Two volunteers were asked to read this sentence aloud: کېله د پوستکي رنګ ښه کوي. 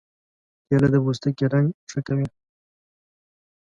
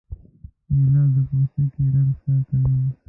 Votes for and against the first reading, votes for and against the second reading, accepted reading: 2, 0, 0, 2, first